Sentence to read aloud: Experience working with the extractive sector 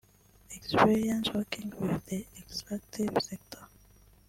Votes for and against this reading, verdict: 0, 2, rejected